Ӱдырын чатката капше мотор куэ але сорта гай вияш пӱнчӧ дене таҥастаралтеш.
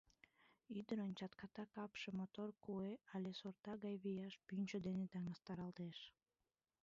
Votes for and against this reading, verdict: 1, 2, rejected